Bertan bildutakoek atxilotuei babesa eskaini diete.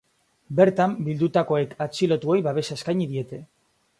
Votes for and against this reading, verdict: 2, 0, accepted